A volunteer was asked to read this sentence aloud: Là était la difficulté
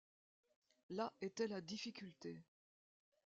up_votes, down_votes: 2, 0